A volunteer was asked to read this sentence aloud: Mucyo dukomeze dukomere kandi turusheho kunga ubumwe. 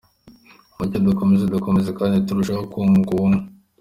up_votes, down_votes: 2, 1